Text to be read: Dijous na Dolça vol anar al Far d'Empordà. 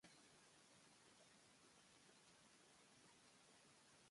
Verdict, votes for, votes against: rejected, 1, 2